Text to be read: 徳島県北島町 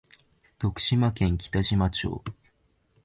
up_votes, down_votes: 2, 0